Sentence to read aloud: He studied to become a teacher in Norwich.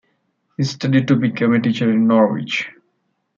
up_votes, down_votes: 2, 0